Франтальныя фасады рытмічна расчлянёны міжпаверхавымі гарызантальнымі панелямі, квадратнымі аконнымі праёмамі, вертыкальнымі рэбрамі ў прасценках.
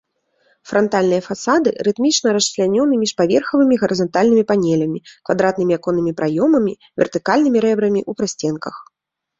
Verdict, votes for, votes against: accepted, 2, 0